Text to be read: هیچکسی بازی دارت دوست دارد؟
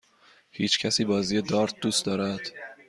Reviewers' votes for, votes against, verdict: 2, 0, accepted